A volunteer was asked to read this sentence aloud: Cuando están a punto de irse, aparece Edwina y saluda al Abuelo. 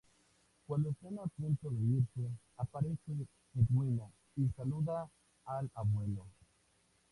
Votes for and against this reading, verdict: 2, 2, rejected